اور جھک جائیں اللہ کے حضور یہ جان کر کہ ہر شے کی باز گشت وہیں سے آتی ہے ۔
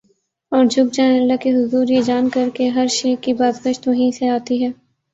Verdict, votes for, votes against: accepted, 2, 0